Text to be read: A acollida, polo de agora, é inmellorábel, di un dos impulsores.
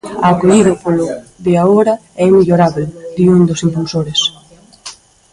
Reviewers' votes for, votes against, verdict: 0, 2, rejected